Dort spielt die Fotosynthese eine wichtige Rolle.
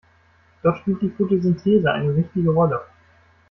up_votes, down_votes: 2, 0